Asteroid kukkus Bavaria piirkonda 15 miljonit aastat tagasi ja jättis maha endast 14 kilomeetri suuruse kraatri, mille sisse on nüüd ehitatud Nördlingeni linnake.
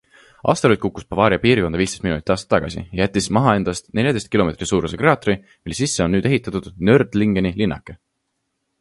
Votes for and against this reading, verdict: 0, 2, rejected